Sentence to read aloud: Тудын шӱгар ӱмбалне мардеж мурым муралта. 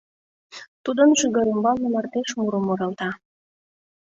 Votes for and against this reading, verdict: 2, 0, accepted